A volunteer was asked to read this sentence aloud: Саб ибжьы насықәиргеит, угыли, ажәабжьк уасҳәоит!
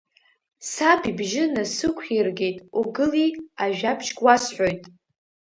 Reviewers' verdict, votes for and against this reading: accepted, 2, 0